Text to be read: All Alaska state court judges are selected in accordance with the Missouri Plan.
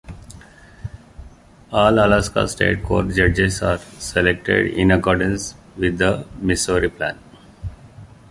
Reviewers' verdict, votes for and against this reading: rejected, 1, 2